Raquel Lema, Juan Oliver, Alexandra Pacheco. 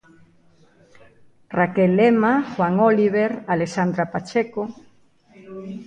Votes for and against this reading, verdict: 0, 2, rejected